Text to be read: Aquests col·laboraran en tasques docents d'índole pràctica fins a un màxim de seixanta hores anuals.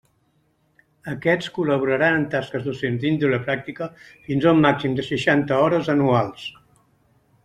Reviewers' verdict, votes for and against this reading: accepted, 2, 0